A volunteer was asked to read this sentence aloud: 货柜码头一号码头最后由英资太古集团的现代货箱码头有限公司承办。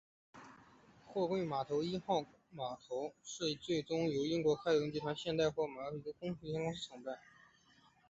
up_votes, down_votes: 2, 1